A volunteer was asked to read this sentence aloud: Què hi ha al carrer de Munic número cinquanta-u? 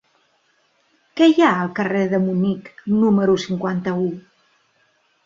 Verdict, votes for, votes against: accepted, 2, 0